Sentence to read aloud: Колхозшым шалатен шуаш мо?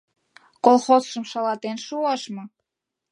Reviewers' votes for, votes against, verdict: 2, 0, accepted